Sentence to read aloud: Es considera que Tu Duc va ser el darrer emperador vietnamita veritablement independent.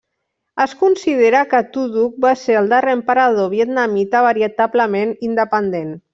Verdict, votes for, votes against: rejected, 0, 2